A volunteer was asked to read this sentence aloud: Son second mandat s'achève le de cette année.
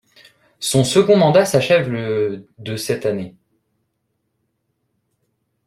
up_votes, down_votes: 2, 0